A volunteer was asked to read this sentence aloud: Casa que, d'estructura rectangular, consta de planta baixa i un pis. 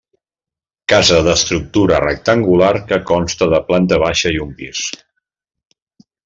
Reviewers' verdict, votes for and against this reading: rejected, 1, 2